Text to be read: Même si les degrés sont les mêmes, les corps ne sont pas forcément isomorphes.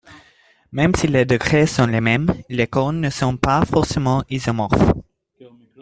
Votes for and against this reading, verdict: 3, 0, accepted